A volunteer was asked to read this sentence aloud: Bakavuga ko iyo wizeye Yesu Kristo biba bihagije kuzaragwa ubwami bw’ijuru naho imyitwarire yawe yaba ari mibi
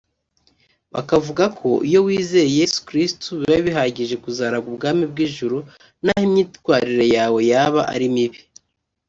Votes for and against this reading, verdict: 2, 0, accepted